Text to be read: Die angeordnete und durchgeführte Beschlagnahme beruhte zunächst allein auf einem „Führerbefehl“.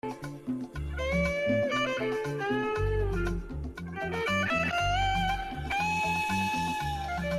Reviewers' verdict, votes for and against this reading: rejected, 0, 2